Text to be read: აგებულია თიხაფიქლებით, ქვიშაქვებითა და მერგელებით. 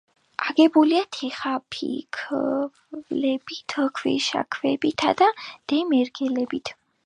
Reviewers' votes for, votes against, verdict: 1, 2, rejected